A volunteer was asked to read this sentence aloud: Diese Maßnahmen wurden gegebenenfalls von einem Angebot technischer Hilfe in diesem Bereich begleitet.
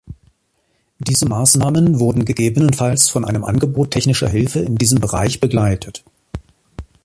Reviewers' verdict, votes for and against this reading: accepted, 2, 1